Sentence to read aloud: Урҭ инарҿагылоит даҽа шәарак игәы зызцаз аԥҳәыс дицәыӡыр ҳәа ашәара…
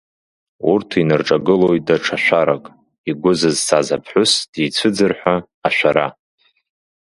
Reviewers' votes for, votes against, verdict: 2, 0, accepted